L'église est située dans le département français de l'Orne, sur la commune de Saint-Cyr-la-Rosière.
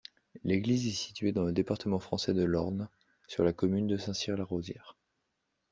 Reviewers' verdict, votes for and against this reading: accepted, 2, 0